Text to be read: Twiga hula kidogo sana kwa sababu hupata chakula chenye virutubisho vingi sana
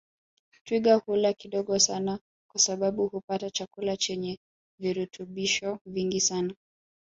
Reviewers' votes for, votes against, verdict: 2, 1, accepted